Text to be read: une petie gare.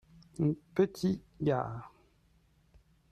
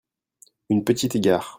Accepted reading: first